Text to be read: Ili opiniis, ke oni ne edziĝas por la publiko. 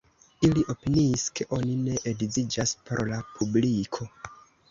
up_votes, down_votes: 2, 0